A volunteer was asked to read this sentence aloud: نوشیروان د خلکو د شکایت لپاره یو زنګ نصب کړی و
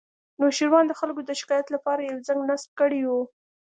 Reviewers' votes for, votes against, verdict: 2, 0, accepted